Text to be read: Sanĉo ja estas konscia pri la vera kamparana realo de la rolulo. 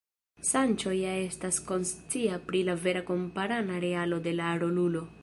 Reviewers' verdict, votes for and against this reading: rejected, 1, 2